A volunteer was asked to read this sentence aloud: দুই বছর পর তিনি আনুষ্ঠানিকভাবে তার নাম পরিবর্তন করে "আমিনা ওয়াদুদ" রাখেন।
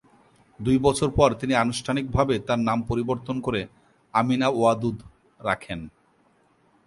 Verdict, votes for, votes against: accepted, 2, 0